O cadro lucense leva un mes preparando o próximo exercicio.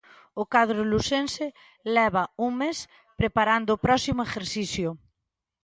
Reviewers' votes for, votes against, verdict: 1, 2, rejected